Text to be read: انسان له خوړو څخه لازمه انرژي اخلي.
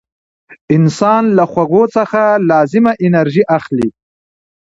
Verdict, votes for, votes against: rejected, 1, 2